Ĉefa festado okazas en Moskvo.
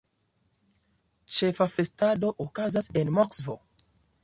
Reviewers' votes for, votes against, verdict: 2, 0, accepted